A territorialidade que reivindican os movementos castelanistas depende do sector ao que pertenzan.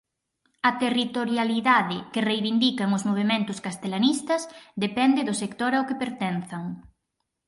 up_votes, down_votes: 4, 0